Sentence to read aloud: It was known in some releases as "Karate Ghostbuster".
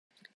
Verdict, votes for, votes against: rejected, 0, 3